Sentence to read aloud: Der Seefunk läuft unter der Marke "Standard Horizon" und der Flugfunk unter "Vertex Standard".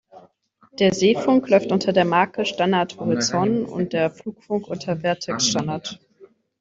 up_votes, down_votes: 1, 2